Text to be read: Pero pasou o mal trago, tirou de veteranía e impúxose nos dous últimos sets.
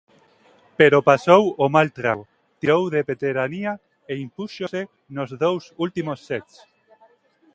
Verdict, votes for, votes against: rejected, 1, 2